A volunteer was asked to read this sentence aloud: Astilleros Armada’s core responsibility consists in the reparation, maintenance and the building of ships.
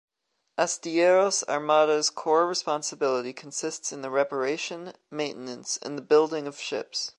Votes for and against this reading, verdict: 1, 2, rejected